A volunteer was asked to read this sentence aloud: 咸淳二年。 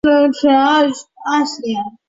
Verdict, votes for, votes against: rejected, 0, 3